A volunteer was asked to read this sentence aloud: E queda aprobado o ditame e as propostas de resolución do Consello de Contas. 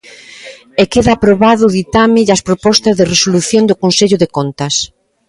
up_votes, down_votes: 2, 0